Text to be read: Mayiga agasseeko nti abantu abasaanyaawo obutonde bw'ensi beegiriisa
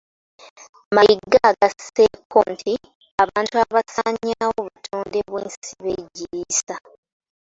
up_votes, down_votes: 1, 2